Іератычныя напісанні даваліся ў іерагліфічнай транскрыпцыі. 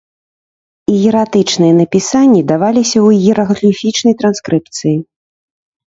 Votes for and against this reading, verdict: 2, 0, accepted